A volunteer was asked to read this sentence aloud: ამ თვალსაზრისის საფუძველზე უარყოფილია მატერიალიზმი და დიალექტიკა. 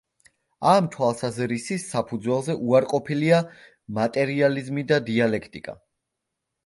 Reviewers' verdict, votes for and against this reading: accepted, 2, 0